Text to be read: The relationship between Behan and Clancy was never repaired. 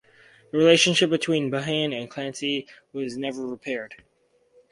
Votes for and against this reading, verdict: 4, 0, accepted